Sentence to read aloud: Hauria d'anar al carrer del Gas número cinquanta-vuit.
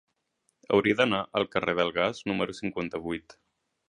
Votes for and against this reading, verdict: 3, 0, accepted